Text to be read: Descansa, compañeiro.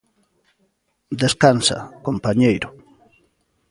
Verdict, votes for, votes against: rejected, 1, 2